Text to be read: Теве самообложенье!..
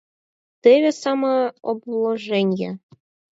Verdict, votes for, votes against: accepted, 4, 0